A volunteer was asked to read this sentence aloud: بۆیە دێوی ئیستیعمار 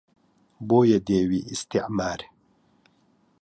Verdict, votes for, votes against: accepted, 2, 0